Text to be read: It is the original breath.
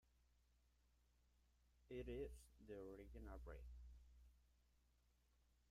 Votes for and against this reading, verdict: 0, 2, rejected